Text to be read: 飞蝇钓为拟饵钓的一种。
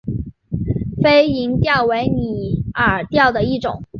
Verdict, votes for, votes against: accepted, 4, 0